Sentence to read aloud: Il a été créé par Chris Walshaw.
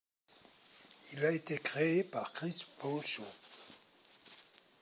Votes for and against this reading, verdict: 1, 2, rejected